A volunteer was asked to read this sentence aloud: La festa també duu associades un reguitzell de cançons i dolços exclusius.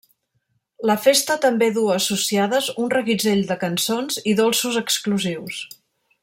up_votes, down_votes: 1, 2